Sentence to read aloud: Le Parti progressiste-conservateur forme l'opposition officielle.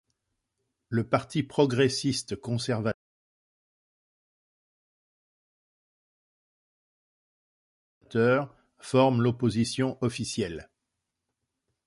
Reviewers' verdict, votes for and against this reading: rejected, 0, 2